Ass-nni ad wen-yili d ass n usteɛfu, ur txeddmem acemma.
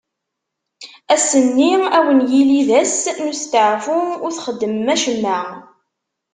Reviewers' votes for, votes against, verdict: 3, 0, accepted